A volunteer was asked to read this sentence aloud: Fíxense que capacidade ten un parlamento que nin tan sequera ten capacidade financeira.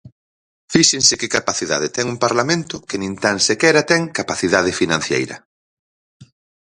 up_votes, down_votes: 0, 4